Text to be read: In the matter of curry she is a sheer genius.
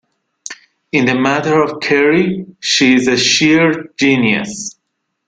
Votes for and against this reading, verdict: 2, 0, accepted